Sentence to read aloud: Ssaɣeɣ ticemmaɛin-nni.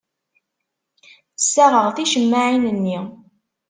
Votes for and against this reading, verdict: 2, 0, accepted